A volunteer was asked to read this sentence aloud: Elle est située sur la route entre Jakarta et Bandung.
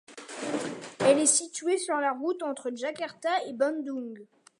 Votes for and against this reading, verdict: 2, 1, accepted